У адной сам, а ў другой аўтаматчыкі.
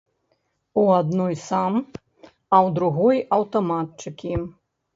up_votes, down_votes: 3, 0